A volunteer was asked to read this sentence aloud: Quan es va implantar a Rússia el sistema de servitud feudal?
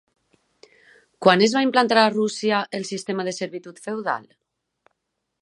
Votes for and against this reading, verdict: 3, 0, accepted